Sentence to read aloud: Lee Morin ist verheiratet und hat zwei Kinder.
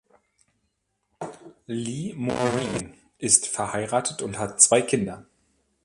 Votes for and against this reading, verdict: 0, 2, rejected